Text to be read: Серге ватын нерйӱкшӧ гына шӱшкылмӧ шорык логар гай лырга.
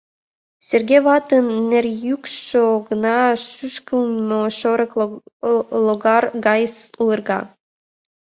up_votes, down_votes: 0, 2